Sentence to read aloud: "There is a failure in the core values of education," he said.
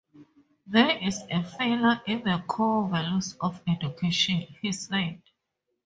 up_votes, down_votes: 0, 2